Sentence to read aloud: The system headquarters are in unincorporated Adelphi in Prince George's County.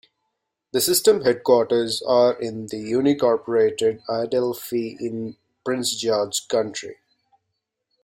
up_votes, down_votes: 0, 2